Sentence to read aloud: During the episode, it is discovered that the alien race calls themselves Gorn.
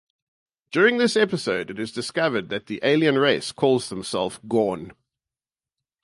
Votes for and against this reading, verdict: 0, 2, rejected